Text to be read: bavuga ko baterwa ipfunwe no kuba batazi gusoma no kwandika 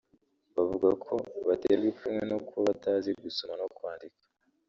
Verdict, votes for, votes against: rejected, 1, 2